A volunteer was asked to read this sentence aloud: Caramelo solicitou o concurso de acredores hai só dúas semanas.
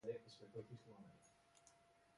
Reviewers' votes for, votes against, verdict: 1, 2, rejected